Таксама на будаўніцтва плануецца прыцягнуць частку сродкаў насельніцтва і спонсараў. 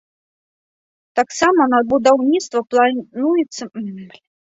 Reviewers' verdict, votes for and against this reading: rejected, 0, 2